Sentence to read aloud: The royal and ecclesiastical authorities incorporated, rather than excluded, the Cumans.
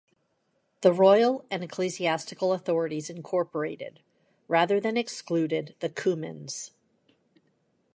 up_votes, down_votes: 2, 0